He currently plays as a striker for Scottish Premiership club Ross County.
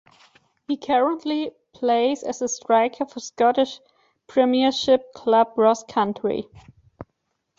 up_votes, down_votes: 2, 1